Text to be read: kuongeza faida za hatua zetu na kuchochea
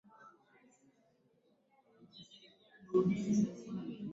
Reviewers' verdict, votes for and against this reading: rejected, 2, 13